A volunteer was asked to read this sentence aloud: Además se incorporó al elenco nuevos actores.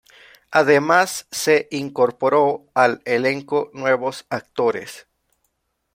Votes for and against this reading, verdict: 2, 0, accepted